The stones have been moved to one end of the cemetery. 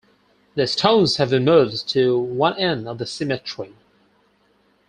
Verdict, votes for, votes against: accepted, 4, 0